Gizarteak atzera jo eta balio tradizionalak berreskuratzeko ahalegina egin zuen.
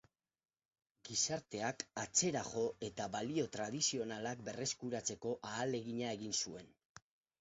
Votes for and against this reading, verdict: 0, 4, rejected